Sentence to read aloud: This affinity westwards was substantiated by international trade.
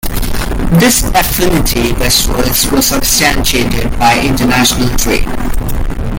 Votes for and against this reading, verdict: 2, 0, accepted